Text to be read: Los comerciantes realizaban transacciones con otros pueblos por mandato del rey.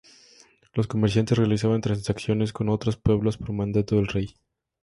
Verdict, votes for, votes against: accepted, 2, 0